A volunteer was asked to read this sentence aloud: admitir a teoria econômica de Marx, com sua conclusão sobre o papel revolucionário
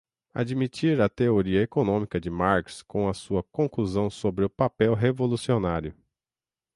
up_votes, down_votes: 3, 6